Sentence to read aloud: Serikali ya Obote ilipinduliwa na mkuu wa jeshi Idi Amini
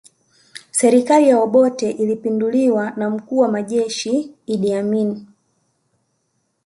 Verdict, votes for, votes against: accepted, 2, 0